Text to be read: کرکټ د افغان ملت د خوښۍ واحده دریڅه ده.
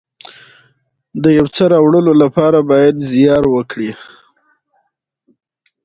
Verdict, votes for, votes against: accepted, 2, 1